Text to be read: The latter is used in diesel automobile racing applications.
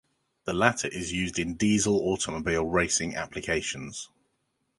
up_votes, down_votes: 2, 0